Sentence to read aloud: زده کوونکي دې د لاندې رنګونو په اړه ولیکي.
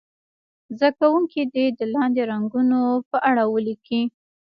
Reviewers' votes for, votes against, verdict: 0, 2, rejected